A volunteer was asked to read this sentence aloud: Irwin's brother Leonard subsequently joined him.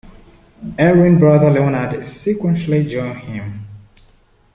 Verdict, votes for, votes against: rejected, 1, 2